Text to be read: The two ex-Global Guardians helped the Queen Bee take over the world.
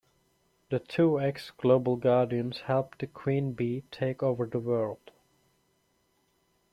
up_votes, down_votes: 2, 0